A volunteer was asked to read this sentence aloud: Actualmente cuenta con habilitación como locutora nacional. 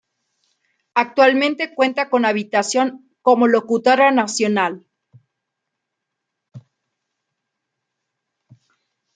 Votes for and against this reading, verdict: 0, 2, rejected